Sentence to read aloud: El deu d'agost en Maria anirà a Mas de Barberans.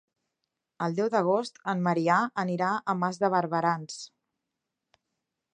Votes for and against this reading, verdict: 0, 2, rejected